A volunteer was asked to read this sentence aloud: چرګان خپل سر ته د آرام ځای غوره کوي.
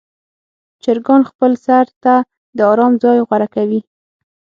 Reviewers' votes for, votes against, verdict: 6, 0, accepted